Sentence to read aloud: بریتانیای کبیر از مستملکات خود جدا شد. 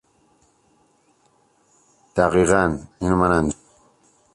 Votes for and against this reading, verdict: 0, 3, rejected